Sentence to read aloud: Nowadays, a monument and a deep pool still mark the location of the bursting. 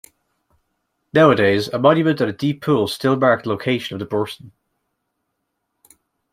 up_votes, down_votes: 2, 0